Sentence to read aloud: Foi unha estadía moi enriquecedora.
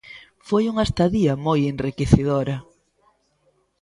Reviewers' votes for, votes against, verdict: 1, 2, rejected